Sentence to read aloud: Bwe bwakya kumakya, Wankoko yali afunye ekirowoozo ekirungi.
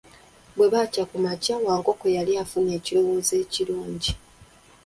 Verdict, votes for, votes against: rejected, 1, 2